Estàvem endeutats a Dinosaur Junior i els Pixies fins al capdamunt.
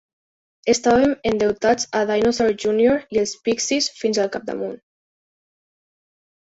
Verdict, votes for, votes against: accepted, 2, 0